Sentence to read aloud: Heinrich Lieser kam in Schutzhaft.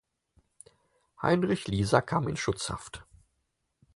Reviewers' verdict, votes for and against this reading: accepted, 4, 0